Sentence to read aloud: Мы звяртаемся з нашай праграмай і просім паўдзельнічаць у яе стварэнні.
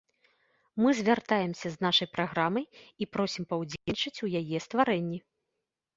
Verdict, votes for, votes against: rejected, 1, 2